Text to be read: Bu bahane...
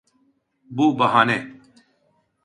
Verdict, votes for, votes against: accepted, 2, 0